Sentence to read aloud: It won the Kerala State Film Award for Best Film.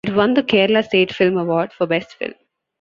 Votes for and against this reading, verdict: 2, 1, accepted